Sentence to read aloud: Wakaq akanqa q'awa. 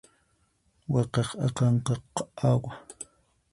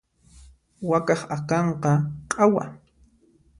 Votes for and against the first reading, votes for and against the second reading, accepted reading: 2, 4, 2, 0, second